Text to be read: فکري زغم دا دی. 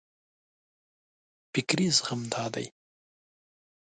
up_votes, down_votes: 2, 0